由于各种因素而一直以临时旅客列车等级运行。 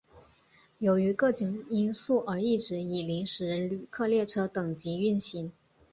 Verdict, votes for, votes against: accepted, 3, 0